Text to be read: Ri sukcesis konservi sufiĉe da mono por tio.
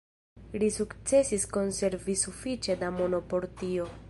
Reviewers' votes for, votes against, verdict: 1, 2, rejected